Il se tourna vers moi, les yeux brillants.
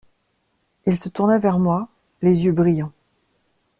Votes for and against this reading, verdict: 2, 0, accepted